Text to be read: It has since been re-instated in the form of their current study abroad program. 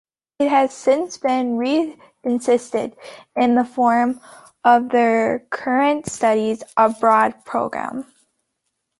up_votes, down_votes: 0, 2